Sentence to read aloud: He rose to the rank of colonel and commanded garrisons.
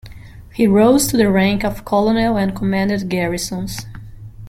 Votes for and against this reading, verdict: 0, 2, rejected